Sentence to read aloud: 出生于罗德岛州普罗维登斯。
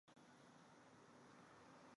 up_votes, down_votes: 0, 2